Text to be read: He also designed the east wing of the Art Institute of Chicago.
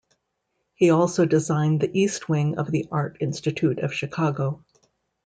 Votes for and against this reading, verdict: 2, 0, accepted